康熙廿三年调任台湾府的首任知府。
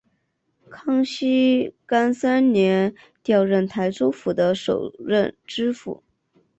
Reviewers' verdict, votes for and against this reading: rejected, 0, 2